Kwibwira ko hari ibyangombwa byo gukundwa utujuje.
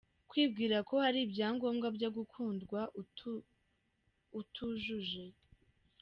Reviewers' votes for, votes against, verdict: 0, 3, rejected